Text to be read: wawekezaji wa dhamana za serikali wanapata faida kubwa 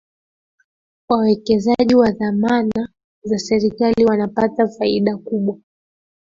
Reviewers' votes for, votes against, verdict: 2, 1, accepted